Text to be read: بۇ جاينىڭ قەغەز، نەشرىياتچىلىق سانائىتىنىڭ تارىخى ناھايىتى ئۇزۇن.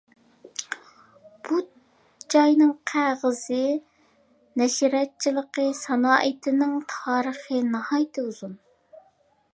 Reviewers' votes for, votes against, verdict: 0, 2, rejected